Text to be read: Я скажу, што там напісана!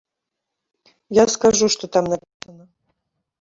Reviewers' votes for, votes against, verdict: 0, 2, rejected